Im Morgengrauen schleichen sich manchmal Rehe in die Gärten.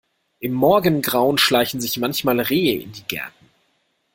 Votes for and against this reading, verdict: 2, 0, accepted